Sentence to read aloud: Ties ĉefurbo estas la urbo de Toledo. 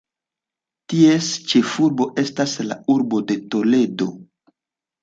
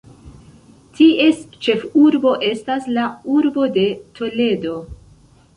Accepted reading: first